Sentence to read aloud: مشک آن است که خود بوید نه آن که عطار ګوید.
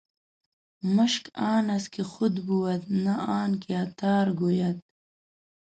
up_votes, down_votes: 0, 2